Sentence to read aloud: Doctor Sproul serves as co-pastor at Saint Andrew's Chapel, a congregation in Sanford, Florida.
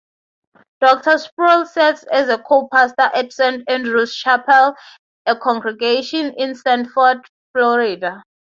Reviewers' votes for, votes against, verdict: 3, 0, accepted